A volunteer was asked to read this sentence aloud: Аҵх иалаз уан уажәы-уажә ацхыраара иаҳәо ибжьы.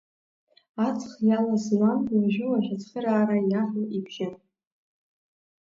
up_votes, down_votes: 1, 2